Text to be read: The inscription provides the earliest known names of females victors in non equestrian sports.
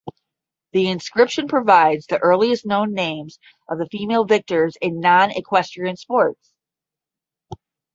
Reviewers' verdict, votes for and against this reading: accepted, 10, 0